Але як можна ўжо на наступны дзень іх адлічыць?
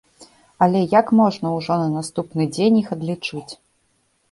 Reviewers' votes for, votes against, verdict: 2, 0, accepted